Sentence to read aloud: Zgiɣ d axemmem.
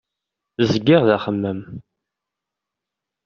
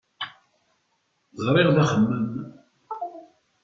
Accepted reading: first